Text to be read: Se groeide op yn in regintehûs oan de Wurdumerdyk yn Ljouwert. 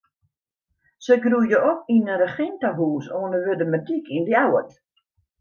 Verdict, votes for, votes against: rejected, 1, 2